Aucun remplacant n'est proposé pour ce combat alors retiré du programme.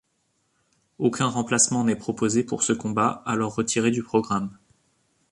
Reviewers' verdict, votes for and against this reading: rejected, 1, 2